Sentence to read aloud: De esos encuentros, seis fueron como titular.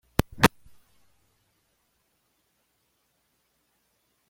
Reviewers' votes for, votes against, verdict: 1, 2, rejected